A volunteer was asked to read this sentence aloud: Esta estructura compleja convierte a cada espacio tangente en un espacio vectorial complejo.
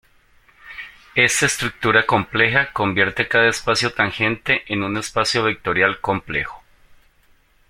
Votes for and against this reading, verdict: 0, 2, rejected